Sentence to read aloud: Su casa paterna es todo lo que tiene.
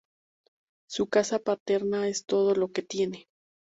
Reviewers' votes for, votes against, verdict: 2, 0, accepted